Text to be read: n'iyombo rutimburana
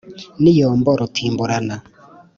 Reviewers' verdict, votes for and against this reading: accepted, 3, 0